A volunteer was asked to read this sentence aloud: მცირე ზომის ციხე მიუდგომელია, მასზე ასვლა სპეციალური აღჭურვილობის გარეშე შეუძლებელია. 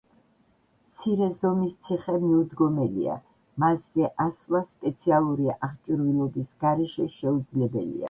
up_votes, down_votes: 1, 2